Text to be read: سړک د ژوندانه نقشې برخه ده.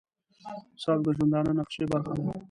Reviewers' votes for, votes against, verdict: 1, 2, rejected